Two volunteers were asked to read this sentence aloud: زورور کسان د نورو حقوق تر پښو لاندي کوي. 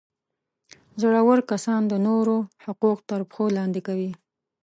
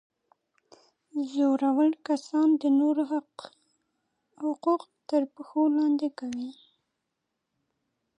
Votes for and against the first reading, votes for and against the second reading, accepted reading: 2, 0, 0, 2, first